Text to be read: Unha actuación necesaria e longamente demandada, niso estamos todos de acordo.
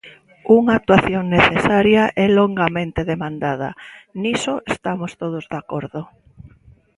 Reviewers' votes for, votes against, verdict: 1, 2, rejected